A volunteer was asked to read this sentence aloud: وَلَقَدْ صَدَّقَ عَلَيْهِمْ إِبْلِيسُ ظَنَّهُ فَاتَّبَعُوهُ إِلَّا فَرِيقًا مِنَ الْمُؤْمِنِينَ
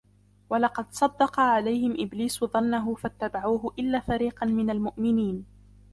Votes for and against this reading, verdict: 2, 0, accepted